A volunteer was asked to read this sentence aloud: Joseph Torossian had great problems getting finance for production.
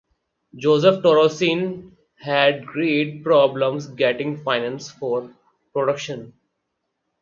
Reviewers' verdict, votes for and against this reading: rejected, 2, 2